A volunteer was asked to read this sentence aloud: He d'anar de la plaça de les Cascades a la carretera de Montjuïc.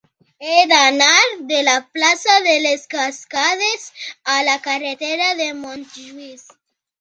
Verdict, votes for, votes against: accepted, 2, 1